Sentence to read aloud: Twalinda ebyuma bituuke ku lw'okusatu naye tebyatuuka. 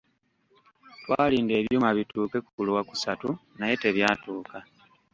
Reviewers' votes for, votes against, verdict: 1, 2, rejected